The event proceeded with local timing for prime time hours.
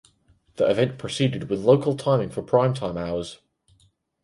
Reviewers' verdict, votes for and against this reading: accepted, 4, 0